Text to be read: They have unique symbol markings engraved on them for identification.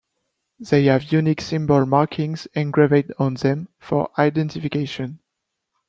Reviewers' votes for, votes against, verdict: 1, 2, rejected